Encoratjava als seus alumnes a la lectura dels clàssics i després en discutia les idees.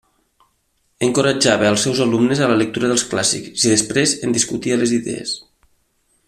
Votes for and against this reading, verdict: 2, 0, accepted